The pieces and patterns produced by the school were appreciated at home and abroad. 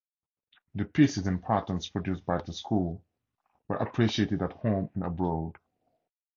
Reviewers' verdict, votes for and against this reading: accepted, 2, 0